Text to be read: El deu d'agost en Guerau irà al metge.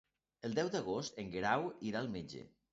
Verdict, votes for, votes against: accepted, 2, 0